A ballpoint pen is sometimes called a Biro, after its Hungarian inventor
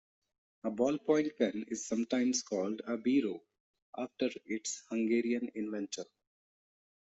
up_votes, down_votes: 1, 2